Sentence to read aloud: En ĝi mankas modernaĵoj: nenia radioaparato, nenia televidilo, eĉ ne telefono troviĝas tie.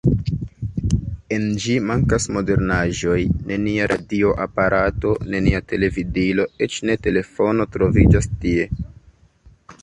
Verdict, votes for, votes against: rejected, 1, 2